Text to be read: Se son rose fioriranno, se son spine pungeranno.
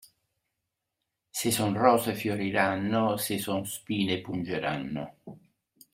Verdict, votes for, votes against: accepted, 2, 0